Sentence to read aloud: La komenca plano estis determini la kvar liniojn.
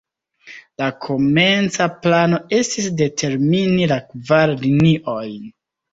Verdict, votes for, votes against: rejected, 1, 2